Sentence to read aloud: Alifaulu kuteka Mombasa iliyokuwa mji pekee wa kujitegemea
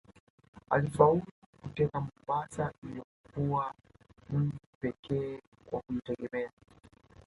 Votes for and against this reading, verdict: 0, 2, rejected